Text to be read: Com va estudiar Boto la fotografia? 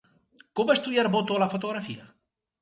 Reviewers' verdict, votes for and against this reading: accepted, 2, 0